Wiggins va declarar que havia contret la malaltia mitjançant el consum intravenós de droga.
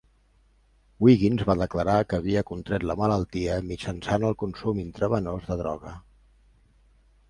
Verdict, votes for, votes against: accepted, 2, 0